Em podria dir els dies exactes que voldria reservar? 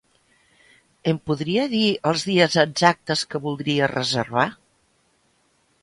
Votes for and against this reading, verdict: 2, 0, accepted